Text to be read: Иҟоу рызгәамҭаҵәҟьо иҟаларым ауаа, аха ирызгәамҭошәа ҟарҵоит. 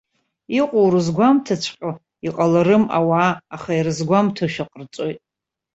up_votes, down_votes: 2, 0